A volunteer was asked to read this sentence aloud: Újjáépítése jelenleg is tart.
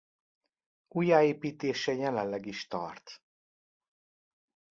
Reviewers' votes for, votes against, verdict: 2, 0, accepted